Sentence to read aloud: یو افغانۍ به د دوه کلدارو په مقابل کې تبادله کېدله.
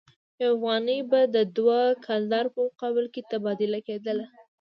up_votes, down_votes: 2, 0